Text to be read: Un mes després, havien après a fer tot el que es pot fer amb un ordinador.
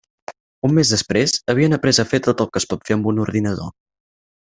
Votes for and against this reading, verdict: 6, 0, accepted